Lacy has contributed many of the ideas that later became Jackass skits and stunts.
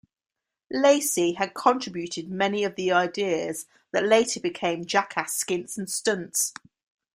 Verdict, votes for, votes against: accepted, 2, 1